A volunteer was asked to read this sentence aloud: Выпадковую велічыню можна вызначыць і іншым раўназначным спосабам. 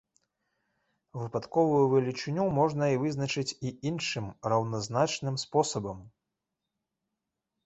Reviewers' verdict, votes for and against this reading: rejected, 0, 2